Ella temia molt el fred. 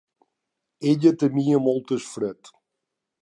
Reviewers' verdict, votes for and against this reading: rejected, 1, 2